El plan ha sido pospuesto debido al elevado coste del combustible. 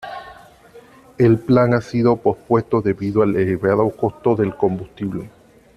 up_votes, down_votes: 1, 2